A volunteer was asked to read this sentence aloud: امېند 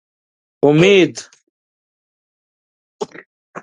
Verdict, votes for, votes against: rejected, 1, 3